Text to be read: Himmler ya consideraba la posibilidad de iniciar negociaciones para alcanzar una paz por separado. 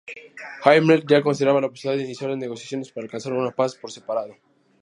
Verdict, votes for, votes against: rejected, 2, 2